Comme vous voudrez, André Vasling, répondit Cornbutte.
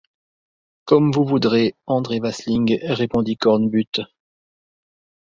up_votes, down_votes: 2, 0